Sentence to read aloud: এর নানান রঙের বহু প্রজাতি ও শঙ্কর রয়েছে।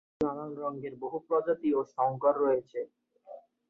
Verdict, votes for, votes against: rejected, 0, 2